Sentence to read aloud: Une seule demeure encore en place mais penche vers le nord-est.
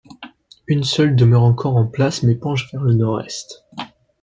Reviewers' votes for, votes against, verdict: 2, 0, accepted